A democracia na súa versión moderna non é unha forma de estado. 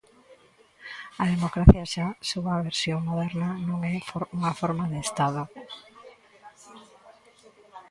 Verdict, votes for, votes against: rejected, 0, 3